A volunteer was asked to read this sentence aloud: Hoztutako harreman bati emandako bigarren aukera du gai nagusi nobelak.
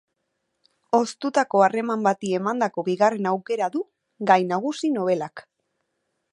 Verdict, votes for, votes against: accepted, 2, 0